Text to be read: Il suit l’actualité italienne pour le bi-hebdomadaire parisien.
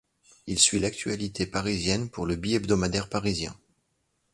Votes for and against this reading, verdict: 0, 2, rejected